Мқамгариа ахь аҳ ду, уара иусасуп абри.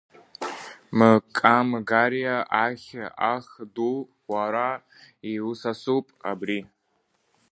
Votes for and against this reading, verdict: 0, 2, rejected